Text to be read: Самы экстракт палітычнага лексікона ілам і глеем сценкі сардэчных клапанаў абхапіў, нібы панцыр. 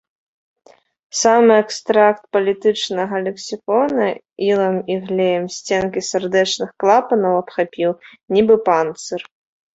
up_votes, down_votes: 2, 1